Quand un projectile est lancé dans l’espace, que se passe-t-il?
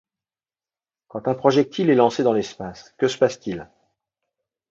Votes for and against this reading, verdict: 2, 0, accepted